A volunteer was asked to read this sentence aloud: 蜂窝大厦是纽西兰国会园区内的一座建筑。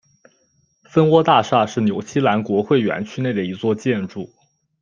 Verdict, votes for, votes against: accepted, 2, 0